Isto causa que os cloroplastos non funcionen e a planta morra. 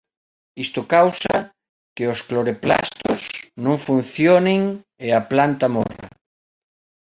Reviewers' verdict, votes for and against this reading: rejected, 0, 2